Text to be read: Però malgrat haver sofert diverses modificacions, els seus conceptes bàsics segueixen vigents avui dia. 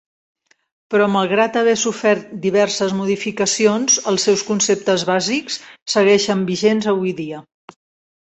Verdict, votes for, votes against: accepted, 2, 0